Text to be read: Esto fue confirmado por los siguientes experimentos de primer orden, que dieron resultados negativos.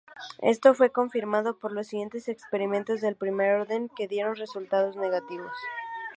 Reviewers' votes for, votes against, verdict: 0, 2, rejected